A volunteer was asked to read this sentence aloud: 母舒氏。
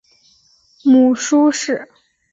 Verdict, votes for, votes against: accepted, 2, 0